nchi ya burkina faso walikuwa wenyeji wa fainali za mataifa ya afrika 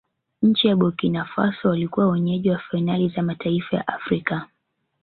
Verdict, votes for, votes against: accepted, 3, 0